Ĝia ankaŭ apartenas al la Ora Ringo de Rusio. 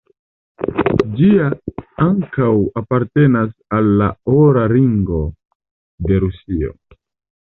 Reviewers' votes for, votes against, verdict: 2, 0, accepted